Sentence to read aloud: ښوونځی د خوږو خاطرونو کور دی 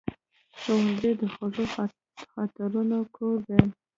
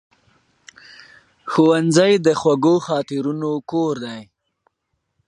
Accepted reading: second